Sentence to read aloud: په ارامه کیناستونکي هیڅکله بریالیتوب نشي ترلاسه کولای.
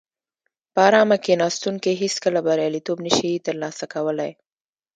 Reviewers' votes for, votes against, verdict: 1, 2, rejected